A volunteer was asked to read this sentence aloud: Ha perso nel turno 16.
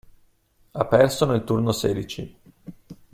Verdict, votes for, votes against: rejected, 0, 2